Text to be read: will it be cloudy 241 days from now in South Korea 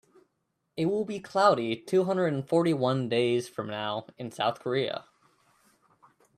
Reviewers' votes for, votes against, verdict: 0, 2, rejected